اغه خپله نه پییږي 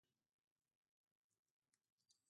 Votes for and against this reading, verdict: 0, 2, rejected